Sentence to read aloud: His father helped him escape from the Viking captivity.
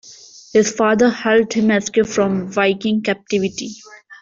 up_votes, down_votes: 2, 0